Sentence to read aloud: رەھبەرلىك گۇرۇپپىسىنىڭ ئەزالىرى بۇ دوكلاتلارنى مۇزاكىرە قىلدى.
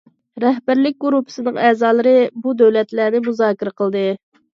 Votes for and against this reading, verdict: 1, 2, rejected